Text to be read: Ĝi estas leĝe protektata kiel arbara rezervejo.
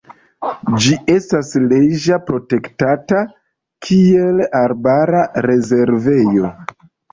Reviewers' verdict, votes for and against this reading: rejected, 0, 2